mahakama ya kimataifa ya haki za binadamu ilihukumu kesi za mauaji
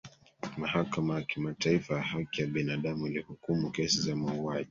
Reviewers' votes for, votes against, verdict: 0, 2, rejected